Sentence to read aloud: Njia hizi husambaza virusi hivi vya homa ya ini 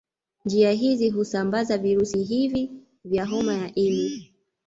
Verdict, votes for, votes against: accepted, 3, 0